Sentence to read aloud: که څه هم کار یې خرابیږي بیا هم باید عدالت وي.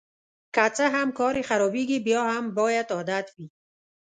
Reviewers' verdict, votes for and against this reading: rejected, 1, 2